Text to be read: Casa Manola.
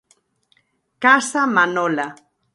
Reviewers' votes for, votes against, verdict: 62, 0, accepted